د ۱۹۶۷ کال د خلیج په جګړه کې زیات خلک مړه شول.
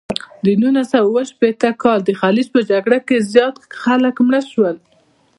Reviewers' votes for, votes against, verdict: 0, 2, rejected